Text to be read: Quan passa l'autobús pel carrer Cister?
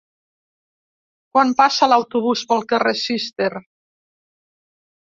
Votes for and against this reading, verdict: 2, 0, accepted